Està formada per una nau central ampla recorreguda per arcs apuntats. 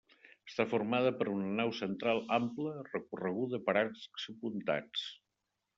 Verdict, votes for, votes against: rejected, 1, 2